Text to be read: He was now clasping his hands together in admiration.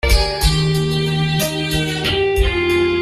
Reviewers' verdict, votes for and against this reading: rejected, 0, 2